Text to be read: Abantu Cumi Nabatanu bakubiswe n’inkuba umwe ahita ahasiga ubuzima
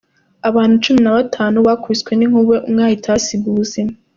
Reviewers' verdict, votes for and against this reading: accepted, 2, 0